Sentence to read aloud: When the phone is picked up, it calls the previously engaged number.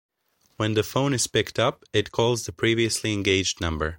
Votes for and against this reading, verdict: 2, 0, accepted